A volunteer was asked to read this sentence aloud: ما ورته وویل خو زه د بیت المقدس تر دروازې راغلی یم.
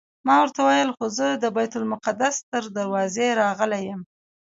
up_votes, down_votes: 2, 0